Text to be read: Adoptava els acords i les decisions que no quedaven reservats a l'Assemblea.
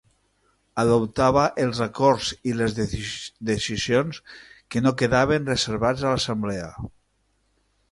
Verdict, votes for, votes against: rejected, 2, 3